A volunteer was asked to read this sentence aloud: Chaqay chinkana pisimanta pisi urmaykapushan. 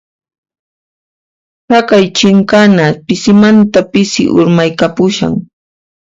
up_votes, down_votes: 0, 2